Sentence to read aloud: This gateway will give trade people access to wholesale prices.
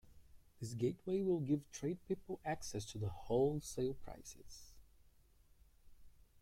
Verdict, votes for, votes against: accepted, 2, 1